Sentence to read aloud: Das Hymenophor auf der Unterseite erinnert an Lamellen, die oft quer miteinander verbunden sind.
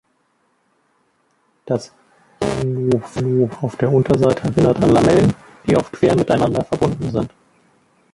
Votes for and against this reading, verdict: 0, 2, rejected